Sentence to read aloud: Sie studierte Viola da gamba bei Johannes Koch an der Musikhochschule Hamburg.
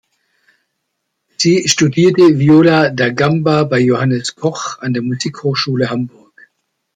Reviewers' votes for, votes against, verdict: 2, 0, accepted